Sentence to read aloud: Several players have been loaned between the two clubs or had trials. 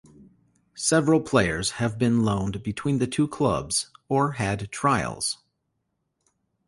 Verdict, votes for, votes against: accepted, 2, 0